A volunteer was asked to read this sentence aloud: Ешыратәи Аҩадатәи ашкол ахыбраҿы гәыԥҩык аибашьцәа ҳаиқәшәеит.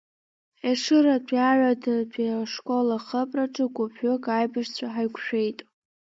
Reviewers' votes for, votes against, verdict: 2, 1, accepted